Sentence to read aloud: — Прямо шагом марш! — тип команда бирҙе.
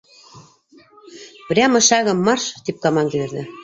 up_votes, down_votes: 0, 2